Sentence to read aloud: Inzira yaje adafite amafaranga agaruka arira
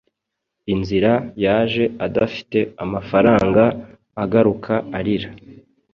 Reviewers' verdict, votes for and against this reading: accepted, 3, 0